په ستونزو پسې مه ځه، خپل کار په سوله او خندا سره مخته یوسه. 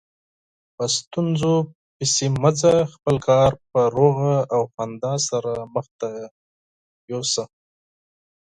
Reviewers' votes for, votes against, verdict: 2, 4, rejected